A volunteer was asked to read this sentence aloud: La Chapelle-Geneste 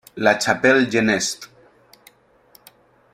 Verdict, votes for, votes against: accepted, 2, 1